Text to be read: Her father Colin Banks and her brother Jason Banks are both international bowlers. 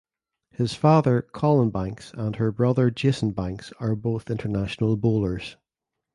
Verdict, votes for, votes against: rejected, 1, 2